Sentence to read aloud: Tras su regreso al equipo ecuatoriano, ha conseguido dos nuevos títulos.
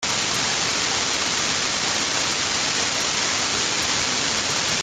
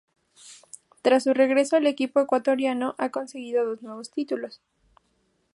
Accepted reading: second